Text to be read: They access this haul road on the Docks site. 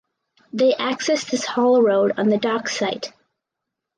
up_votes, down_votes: 4, 0